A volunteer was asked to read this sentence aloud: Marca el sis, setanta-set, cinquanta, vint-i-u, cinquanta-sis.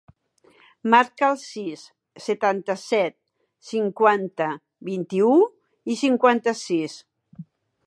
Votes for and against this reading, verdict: 0, 2, rejected